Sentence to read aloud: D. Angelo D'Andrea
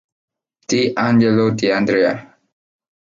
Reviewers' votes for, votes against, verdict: 2, 0, accepted